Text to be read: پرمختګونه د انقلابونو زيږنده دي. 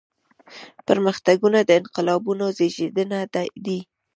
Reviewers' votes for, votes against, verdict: 0, 2, rejected